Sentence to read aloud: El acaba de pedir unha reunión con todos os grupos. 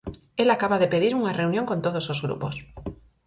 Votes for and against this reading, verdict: 4, 0, accepted